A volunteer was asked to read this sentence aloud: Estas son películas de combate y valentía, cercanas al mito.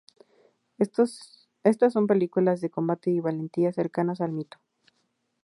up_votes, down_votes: 4, 6